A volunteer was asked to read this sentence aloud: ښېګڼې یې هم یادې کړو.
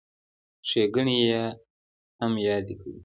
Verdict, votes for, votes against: accepted, 2, 0